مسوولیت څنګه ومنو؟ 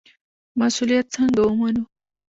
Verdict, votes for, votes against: rejected, 0, 2